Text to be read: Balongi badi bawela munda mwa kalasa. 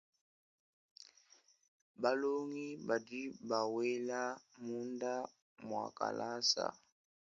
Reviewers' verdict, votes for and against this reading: accepted, 2, 0